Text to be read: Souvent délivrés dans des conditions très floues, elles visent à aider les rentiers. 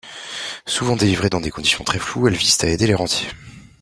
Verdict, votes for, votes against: rejected, 1, 2